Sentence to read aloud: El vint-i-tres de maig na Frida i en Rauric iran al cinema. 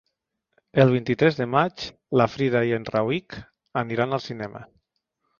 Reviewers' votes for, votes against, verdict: 0, 3, rejected